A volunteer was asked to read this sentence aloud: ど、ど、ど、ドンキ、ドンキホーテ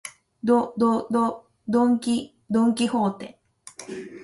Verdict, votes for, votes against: accepted, 2, 0